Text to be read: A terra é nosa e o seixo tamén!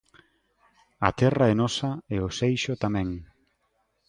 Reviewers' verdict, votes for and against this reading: accepted, 2, 0